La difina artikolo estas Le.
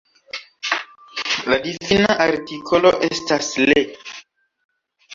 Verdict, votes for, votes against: rejected, 1, 2